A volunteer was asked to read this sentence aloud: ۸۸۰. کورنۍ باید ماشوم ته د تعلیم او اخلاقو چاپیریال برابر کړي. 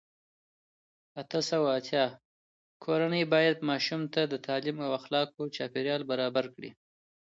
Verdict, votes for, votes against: rejected, 0, 2